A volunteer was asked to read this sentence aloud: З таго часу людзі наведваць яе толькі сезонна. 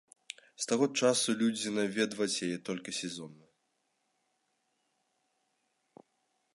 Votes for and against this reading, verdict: 2, 0, accepted